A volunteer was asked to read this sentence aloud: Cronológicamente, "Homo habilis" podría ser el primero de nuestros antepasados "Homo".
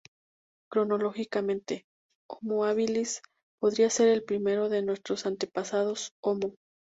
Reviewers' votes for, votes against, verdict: 2, 0, accepted